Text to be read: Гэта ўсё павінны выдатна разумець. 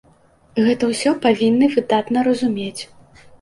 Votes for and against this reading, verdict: 2, 0, accepted